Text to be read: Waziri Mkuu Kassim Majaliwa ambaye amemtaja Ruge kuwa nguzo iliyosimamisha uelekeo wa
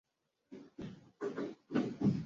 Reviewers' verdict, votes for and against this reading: rejected, 0, 2